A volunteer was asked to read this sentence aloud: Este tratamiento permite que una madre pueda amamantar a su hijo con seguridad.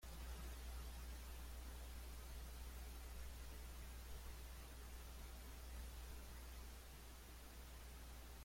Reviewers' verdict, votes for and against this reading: rejected, 0, 2